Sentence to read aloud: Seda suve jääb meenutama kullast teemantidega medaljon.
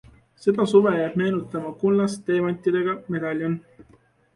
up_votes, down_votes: 2, 0